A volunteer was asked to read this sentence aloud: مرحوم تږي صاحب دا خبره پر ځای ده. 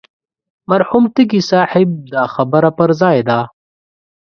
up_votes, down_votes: 2, 0